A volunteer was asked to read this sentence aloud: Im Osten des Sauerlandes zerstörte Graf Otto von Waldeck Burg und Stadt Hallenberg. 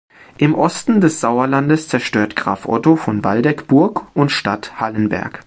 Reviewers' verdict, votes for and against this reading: rejected, 1, 2